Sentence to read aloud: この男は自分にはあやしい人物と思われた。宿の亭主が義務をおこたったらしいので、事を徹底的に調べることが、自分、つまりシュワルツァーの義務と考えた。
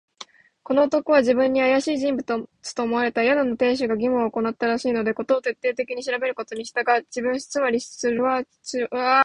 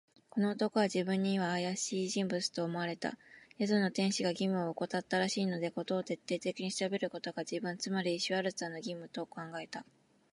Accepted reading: second